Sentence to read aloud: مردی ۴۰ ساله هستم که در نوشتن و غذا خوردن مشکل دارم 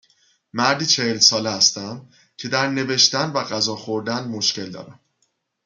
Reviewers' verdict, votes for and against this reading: rejected, 0, 2